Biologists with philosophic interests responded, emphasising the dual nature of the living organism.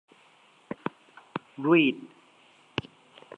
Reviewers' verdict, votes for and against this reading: rejected, 0, 2